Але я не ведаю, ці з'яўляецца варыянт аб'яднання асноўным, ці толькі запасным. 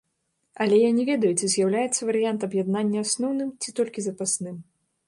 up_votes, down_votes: 2, 0